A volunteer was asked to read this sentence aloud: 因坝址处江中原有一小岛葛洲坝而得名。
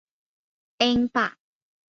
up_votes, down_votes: 0, 2